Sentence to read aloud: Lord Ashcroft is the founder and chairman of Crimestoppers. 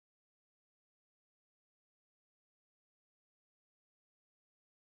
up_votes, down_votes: 0, 3